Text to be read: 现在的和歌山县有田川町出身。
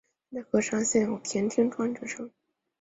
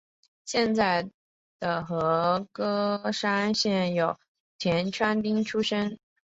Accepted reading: second